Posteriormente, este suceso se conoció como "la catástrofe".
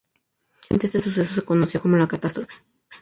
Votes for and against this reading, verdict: 0, 2, rejected